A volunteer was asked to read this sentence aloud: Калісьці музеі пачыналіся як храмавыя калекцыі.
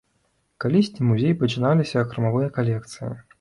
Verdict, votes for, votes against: rejected, 0, 2